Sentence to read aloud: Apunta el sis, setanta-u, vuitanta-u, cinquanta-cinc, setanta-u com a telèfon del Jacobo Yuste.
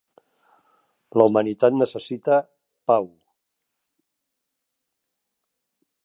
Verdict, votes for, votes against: rejected, 0, 2